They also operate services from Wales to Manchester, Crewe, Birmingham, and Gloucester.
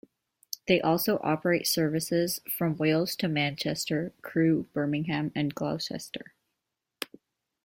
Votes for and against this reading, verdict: 1, 2, rejected